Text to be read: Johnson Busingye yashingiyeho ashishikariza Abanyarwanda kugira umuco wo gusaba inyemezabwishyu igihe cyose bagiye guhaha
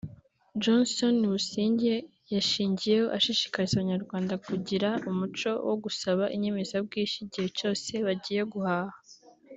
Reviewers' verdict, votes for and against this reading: accepted, 3, 0